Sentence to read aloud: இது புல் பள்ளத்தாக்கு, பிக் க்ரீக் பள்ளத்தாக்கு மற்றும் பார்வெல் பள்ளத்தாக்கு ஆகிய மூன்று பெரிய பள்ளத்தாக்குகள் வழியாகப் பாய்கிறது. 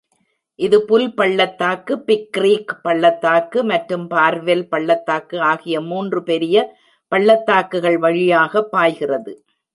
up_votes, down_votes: 2, 1